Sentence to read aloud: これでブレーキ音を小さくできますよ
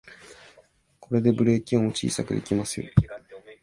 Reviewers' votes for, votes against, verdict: 8, 1, accepted